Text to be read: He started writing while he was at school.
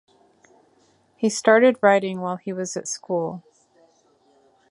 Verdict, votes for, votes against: accepted, 2, 0